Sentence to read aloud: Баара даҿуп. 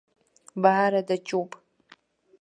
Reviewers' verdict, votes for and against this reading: rejected, 0, 2